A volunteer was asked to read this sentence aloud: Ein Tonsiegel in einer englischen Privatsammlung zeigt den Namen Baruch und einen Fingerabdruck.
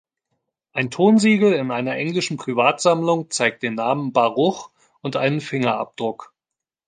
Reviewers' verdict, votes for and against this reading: accepted, 2, 0